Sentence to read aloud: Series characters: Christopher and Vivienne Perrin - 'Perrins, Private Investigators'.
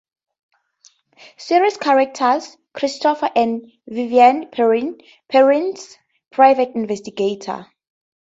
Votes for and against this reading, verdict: 0, 4, rejected